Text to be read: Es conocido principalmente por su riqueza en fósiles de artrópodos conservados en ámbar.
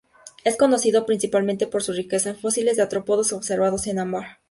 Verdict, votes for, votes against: rejected, 2, 2